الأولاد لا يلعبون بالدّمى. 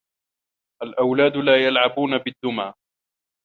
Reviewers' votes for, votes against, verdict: 2, 1, accepted